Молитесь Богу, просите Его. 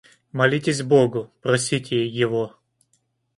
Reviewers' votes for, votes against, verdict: 2, 0, accepted